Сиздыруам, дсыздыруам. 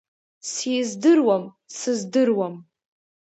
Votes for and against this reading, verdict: 1, 2, rejected